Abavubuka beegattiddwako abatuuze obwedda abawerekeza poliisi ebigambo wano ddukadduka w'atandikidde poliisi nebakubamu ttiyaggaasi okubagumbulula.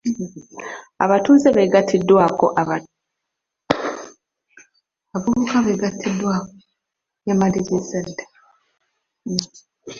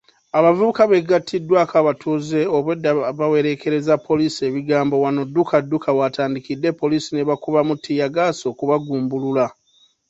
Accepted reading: second